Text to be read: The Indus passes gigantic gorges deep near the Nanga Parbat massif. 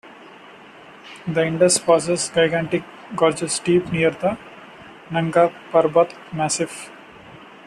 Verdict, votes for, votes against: accepted, 2, 0